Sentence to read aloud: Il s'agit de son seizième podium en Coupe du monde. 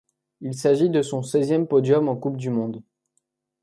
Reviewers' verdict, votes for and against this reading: accepted, 2, 0